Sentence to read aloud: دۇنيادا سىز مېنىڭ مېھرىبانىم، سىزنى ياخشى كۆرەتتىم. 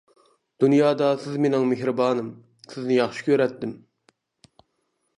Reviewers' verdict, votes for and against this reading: accepted, 2, 0